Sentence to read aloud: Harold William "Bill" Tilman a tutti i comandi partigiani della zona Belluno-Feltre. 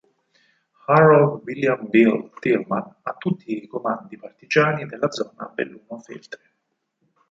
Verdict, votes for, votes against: rejected, 2, 4